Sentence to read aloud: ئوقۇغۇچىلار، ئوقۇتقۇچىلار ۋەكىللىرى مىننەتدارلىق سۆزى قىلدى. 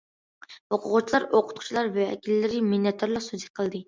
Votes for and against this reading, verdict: 2, 0, accepted